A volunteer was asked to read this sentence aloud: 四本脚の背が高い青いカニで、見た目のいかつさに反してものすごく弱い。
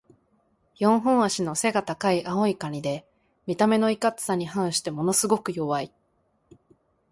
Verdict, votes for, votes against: accepted, 2, 1